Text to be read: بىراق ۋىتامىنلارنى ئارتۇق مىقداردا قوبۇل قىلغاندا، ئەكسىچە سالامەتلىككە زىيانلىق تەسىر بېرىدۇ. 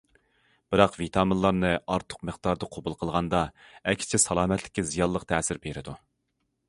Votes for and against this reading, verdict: 2, 0, accepted